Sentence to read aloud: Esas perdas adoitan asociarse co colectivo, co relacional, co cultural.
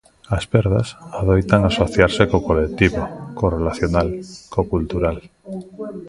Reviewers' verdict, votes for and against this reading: accepted, 3, 1